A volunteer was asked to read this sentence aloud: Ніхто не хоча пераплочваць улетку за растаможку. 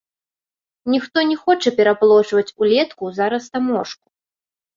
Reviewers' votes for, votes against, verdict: 2, 0, accepted